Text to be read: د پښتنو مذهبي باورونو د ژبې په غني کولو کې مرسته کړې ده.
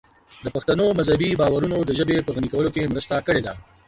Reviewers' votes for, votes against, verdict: 2, 0, accepted